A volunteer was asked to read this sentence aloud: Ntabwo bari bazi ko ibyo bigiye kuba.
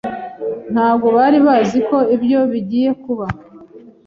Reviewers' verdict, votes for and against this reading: accepted, 2, 0